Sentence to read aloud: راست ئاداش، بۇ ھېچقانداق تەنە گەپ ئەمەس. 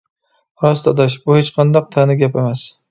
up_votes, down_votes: 2, 0